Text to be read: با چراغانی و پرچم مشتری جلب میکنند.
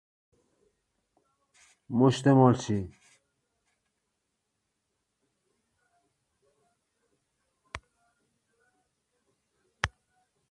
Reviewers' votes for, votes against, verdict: 0, 2, rejected